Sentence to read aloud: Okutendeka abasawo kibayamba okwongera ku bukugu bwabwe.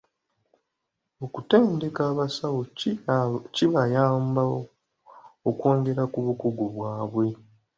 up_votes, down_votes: 2, 1